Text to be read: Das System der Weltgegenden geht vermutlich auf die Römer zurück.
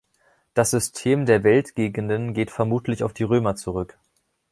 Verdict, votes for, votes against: accepted, 2, 0